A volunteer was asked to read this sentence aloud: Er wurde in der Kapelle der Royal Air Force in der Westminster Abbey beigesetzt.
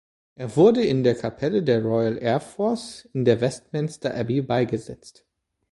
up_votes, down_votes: 3, 0